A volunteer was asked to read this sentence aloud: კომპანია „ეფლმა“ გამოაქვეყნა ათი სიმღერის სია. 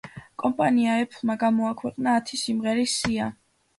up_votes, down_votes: 2, 0